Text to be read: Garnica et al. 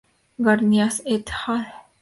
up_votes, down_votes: 2, 0